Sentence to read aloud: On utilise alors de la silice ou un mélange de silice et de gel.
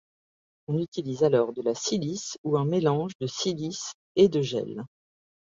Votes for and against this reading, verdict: 2, 0, accepted